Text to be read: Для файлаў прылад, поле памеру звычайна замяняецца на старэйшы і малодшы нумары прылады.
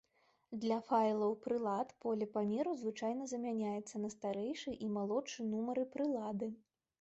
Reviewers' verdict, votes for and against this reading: accepted, 2, 0